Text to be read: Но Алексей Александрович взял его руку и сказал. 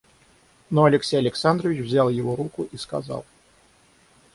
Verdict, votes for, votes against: rejected, 3, 3